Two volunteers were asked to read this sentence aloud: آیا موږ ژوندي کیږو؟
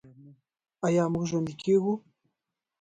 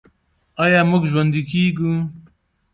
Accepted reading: second